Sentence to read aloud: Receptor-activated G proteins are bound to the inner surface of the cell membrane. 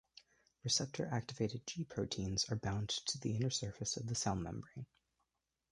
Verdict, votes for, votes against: accepted, 2, 0